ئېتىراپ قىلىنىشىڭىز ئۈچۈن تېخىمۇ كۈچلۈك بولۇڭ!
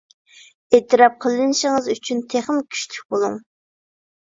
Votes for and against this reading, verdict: 2, 0, accepted